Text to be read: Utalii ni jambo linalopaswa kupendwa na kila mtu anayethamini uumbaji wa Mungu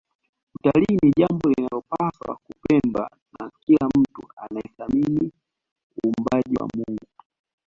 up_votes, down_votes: 2, 0